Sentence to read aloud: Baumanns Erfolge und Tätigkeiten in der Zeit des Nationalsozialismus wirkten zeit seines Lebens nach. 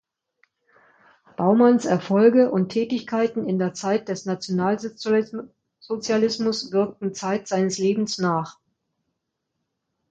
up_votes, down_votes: 1, 2